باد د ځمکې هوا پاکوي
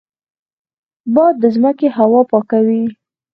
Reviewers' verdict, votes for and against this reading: rejected, 2, 4